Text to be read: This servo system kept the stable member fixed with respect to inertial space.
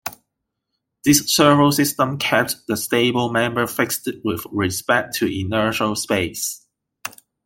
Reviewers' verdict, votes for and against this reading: accepted, 2, 0